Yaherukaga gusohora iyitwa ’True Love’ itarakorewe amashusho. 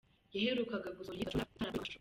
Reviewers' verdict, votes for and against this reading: rejected, 1, 2